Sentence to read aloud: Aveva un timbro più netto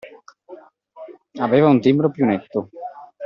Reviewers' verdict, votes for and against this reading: accepted, 2, 0